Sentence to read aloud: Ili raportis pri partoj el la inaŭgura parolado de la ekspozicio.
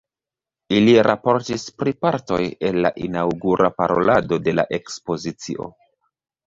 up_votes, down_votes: 1, 2